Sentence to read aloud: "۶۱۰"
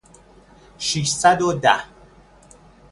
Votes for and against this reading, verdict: 0, 2, rejected